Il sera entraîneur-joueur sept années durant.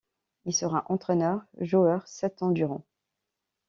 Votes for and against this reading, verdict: 0, 2, rejected